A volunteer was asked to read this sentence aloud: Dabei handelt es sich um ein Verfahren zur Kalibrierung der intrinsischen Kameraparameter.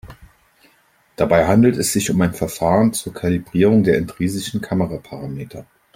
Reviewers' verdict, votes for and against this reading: rejected, 0, 2